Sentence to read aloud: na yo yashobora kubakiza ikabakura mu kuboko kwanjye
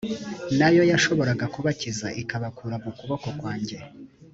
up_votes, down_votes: 2, 1